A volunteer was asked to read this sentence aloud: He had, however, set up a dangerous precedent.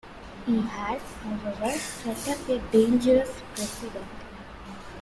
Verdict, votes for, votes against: rejected, 1, 2